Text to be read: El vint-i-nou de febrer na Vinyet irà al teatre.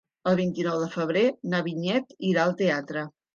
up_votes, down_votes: 3, 0